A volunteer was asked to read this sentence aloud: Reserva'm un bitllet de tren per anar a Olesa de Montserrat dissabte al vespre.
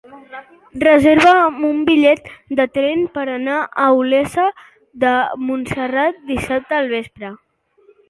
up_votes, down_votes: 2, 1